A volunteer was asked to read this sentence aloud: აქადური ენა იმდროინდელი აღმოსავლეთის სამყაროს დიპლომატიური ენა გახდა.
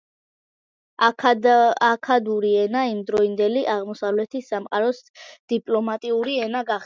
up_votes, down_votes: 0, 2